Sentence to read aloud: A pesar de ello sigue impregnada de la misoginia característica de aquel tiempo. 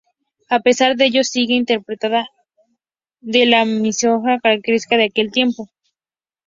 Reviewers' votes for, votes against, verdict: 0, 4, rejected